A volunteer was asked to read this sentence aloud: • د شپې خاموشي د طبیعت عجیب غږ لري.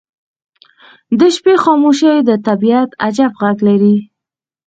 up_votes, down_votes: 4, 0